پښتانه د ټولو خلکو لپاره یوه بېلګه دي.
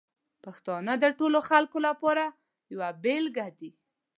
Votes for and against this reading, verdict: 2, 0, accepted